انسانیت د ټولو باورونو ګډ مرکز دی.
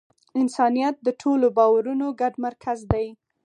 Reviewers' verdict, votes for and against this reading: accepted, 4, 0